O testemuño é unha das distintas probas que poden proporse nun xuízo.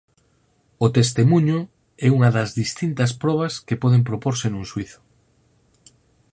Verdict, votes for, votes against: accepted, 4, 2